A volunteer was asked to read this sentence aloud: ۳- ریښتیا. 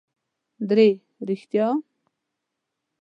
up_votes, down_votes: 0, 2